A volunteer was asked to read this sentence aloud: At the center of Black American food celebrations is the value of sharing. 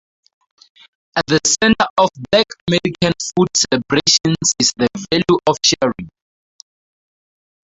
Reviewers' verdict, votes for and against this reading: rejected, 0, 4